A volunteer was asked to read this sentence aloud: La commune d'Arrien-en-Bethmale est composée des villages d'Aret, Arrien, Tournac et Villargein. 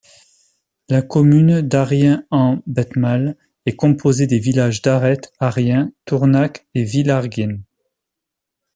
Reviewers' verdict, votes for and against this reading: accepted, 2, 1